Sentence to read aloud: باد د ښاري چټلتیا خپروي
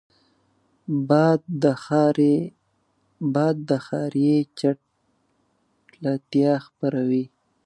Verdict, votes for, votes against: rejected, 0, 2